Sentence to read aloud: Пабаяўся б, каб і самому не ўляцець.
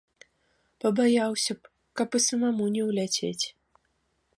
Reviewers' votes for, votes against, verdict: 0, 2, rejected